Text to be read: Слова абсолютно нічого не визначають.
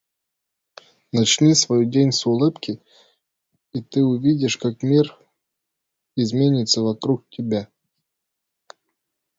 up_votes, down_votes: 0, 2